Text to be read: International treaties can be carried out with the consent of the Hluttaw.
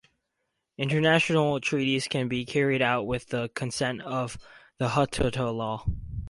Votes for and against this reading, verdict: 0, 2, rejected